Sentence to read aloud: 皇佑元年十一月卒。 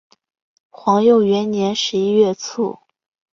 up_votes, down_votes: 4, 0